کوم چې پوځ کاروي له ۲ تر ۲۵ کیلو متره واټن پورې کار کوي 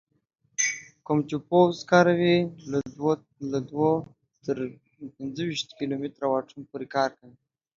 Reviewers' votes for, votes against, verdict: 0, 2, rejected